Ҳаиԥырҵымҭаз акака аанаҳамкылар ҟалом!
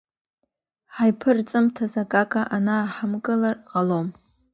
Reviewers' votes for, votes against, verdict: 2, 0, accepted